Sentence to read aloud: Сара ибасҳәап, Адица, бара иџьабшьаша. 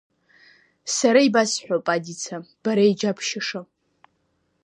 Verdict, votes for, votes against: accepted, 2, 1